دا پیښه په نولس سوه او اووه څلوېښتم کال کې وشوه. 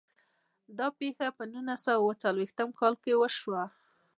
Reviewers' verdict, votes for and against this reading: rejected, 1, 2